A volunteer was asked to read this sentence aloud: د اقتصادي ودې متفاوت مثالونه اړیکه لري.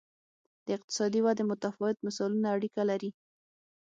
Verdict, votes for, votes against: accepted, 6, 0